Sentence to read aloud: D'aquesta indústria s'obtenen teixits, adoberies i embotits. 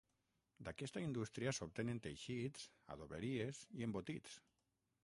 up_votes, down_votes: 3, 6